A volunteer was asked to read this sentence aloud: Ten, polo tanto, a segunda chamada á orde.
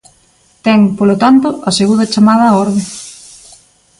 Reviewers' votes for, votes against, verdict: 2, 0, accepted